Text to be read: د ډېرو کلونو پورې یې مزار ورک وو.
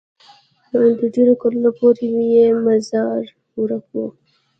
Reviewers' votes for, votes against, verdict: 1, 2, rejected